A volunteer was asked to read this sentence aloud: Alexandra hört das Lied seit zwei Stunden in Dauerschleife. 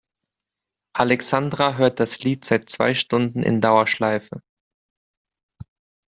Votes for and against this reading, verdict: 2, 0, accepted